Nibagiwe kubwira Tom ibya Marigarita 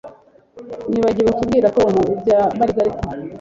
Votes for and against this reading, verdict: 1, 2, rejected